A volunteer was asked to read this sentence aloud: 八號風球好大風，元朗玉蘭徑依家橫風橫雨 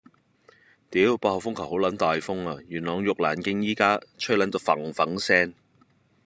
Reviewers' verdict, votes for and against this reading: rejected, 0, 2